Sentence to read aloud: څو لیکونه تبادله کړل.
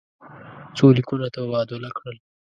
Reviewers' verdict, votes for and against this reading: rejected, 1, 2